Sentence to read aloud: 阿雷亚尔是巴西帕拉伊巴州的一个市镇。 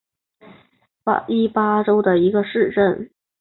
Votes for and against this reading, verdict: 1, 2, rejected